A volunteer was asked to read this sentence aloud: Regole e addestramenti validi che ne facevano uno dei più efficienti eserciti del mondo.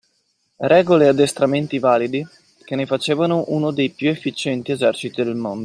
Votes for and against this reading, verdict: 2, 0, accepted